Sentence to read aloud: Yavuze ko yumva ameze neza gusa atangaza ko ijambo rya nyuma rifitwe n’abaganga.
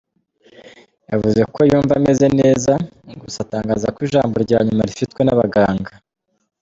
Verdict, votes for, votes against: accepted, 2, 0